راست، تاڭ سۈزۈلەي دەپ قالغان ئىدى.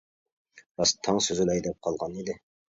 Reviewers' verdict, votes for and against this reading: accepted, 2, 0